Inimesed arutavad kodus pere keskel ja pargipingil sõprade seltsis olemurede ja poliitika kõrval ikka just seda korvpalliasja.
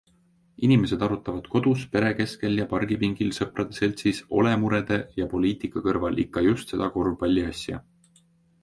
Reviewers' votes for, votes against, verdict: 2, 0, accepted